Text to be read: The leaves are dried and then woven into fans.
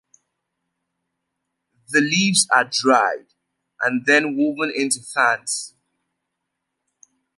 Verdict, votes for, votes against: accepted, 2, 0